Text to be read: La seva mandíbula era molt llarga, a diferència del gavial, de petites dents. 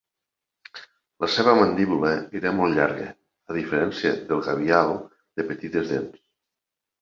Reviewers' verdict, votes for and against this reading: accepted, 2, 0